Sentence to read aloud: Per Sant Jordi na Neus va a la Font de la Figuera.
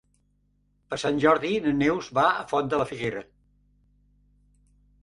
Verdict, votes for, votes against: rejected, 2, 4